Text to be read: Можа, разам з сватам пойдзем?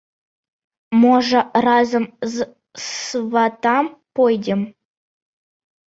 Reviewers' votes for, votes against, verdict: 0, 2, rejected